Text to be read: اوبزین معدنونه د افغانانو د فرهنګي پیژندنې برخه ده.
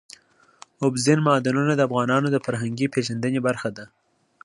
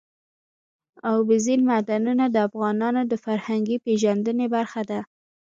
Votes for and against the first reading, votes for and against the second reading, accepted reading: 2, 0, 1, 2, first